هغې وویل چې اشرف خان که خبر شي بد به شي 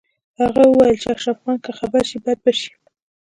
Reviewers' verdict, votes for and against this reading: accepted, 2, 0